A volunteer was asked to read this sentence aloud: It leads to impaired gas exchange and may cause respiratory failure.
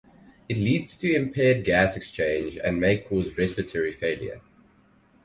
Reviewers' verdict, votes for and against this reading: accepted, 4, 0